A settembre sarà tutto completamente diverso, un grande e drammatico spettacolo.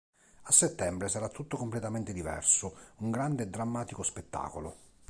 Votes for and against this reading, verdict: 3, 0, accepted